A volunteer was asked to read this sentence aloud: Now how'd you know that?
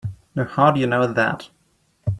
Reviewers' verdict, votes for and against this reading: accepted, 3, 0